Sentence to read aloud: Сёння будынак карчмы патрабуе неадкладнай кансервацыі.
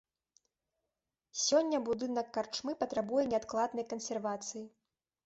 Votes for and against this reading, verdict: 3, 0, accepted